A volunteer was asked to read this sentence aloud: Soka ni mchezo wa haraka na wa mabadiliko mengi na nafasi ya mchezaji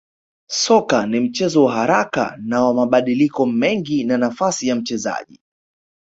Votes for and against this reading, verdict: 5, 1, accepted